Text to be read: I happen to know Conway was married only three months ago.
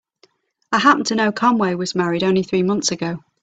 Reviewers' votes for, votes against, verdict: 3, 0, accepted